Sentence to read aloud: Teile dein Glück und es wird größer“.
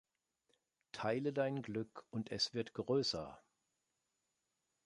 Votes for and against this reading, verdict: 2, 0, accepted